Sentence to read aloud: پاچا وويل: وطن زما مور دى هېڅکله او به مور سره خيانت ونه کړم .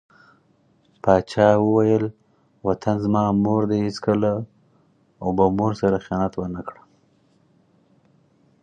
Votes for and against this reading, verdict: 4, 0, accepted